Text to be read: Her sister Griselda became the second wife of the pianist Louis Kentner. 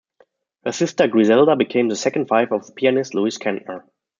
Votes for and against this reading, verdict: 2, 0, accepted